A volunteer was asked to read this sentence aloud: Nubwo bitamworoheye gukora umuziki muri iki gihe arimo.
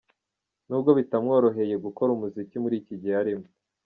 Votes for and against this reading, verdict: 2, 0, accepted